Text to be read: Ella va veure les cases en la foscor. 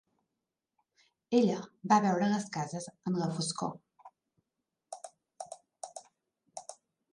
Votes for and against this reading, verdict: 0, 2, rejected